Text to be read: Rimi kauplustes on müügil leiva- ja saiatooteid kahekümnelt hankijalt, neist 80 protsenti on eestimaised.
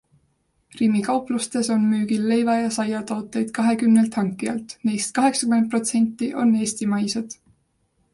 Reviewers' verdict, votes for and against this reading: rejected, 0, 2